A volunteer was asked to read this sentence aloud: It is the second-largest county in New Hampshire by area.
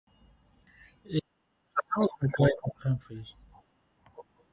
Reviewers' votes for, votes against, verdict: 0, 6, rejected